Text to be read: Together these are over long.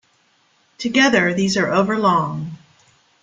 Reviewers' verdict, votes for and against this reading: accepted, 2, 0